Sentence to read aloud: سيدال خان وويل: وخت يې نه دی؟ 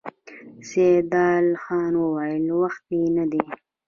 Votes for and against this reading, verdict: 2, 1, accepted